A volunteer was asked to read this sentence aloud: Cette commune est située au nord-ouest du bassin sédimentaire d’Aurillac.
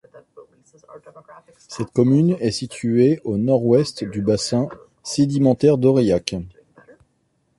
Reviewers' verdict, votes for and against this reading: rejected, 1, 2